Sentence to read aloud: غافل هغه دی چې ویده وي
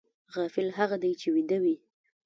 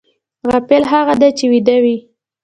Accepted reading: second